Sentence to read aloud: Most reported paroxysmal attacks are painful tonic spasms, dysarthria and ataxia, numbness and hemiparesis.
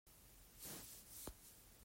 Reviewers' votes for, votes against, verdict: 1, 2, rejected